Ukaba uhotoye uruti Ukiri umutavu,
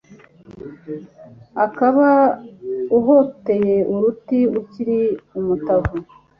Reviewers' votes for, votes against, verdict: 2, 0, accepted